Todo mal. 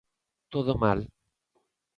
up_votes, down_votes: 2, 0